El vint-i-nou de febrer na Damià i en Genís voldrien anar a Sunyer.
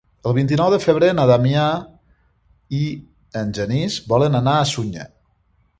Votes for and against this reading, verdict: 0, 2, rejected